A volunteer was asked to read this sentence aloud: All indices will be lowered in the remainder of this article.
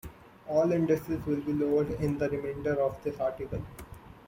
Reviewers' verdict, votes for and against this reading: accepted, 2, 0